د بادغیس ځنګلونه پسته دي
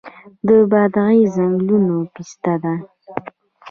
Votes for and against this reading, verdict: 1, 2, rejected